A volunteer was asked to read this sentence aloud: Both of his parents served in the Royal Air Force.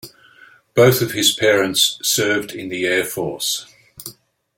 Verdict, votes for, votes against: rejected, 1, 2